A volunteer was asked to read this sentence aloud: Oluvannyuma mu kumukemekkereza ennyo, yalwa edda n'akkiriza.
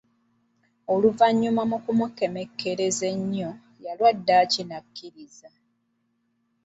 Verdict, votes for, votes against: rejected, 1, 2